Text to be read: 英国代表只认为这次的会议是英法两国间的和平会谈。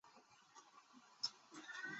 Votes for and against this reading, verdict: 0, 2, rejected